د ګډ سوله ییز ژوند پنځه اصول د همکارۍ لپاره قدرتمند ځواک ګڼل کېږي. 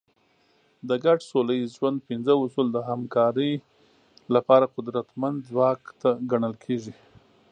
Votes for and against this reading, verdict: 2, 0, accepted